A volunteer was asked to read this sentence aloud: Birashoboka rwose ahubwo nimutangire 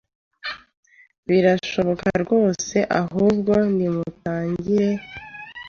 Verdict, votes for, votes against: accepted, 2, 0